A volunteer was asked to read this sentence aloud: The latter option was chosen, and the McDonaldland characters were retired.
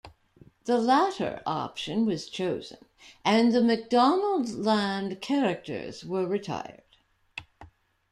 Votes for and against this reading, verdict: 1, 2, rejected